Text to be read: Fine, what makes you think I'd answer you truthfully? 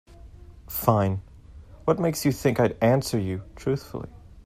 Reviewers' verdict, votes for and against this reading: accepted, 2, 0